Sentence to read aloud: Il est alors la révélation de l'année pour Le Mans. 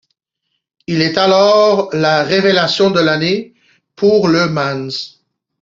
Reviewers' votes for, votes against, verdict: 0, 2, rejected